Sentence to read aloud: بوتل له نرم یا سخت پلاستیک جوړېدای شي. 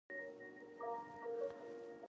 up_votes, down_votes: 1, 2